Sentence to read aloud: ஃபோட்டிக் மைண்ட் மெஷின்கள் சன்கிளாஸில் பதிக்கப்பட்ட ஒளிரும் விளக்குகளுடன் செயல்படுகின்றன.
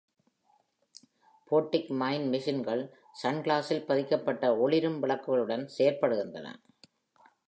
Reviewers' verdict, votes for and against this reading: accepted, 2, 0